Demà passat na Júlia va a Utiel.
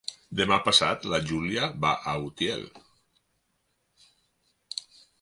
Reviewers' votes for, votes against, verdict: 2, 4, rejected